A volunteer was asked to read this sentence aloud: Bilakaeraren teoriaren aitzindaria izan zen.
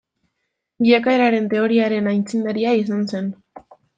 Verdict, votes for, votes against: accepted, 2, 0